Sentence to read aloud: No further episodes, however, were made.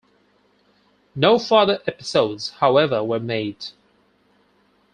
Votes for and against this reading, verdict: 4, 2, accepted